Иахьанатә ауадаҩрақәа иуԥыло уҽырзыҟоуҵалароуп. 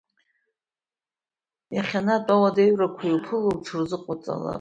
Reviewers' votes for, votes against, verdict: 2, 0, accepted